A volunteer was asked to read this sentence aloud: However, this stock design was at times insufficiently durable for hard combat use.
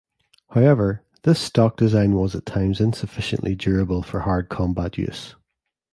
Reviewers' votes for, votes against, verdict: 2, 0, accepted